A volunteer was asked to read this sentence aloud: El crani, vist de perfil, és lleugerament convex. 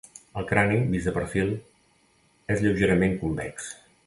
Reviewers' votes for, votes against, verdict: 3, 0, accepted